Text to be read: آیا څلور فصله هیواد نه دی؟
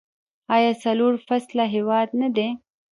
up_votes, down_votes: 1, 2